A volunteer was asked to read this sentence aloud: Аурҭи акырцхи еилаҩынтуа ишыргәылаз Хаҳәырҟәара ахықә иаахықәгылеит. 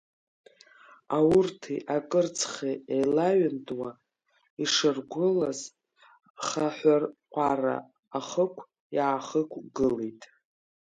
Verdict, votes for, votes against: rejected, 1, 2